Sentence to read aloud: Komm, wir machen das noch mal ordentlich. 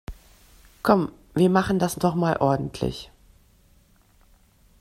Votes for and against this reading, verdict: 0, 2, rejected